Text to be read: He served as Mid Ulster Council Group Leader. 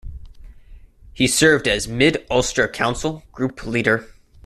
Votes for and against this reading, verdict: 2, 0, accepted